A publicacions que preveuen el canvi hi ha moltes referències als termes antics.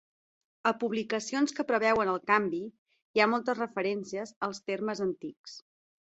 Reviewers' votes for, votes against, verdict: 4, 0, accepted